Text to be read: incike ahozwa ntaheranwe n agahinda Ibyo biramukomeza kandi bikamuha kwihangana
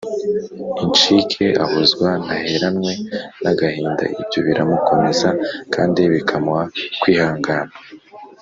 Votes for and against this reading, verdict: 2, 0, accepted